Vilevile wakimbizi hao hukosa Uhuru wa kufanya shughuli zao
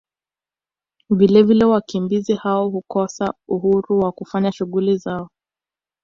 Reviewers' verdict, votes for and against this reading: accepted, 2, 0